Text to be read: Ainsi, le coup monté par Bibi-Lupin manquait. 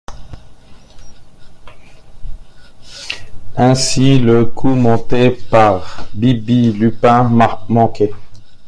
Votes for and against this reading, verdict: 0, 2, rejected